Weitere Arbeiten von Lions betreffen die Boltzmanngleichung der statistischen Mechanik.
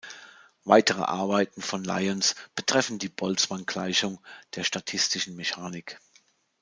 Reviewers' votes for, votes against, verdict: 3, 0, accepted